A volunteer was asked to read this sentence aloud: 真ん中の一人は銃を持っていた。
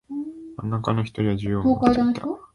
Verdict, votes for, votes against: rejected, 0, 2